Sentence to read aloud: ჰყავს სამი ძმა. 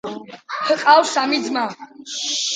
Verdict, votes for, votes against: rejected, 1, 2